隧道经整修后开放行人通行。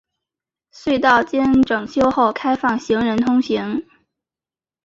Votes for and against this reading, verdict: 2, 0, accepted